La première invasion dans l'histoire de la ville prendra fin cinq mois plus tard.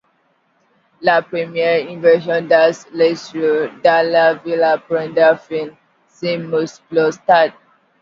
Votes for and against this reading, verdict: 0, 2, rejected